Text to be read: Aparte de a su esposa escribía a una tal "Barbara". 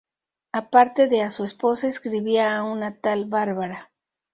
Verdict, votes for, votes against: rejected, 0, 2